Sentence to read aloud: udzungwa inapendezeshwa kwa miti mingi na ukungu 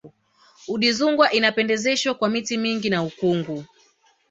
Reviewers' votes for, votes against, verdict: 3, 1, accepted